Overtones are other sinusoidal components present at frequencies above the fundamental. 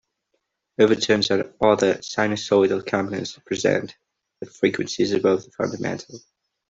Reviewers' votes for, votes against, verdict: 0, 2, rejected